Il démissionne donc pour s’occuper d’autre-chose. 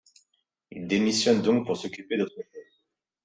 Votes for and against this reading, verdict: 2, 0, accepted